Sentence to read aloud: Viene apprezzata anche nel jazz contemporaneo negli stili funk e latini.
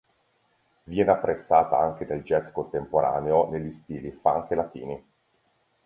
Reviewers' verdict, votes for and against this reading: accepted, 2, 0